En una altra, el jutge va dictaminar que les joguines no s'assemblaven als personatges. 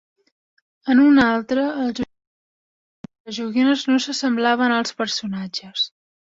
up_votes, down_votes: 0, 2